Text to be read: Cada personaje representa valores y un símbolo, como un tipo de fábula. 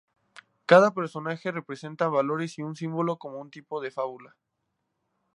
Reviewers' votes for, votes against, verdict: 2, 0, accepted